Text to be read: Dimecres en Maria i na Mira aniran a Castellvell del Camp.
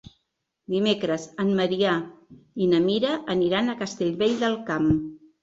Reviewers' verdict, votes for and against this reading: rejected, 1, 2